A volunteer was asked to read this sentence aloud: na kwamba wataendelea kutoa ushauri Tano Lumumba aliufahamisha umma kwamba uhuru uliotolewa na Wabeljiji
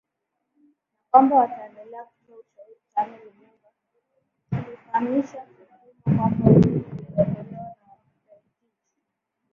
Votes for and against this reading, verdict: 0, 2, rejected